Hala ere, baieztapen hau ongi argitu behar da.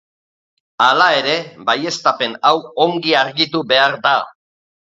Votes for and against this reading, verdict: 2, 0, accepted